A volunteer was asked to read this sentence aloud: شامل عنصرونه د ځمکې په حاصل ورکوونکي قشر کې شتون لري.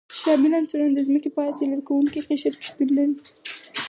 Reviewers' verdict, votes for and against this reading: accepted, 4, 2